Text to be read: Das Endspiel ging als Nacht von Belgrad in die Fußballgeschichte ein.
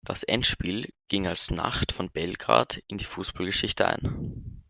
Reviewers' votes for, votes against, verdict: 2, 0, accepted